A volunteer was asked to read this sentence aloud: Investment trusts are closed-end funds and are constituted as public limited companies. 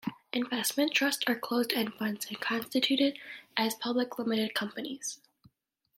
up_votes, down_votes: 2, 0